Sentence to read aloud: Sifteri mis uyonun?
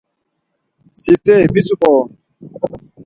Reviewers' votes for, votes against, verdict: 0, 4, rejected